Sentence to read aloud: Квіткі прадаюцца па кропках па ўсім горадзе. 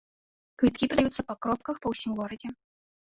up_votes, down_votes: 1, 2